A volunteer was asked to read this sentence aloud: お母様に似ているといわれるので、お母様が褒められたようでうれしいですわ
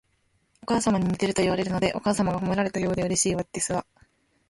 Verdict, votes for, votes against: accepted, 2, 0